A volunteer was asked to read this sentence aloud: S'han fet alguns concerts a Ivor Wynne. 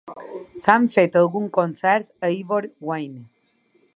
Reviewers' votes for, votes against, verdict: 2, 0, accepted